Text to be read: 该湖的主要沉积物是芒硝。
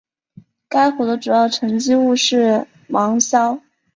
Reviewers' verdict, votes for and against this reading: accepted, 3, 0